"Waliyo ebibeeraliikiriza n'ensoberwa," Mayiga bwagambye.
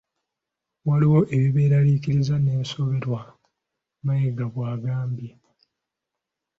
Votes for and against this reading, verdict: 2, 1, accepted